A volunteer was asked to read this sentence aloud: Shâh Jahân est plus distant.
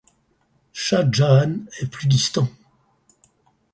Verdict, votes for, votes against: accepted, 4, 0